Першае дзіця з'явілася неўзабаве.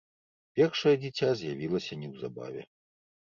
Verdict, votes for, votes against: accepted, 2, 0